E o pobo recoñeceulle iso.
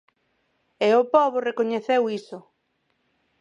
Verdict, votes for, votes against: rejected, 0, 4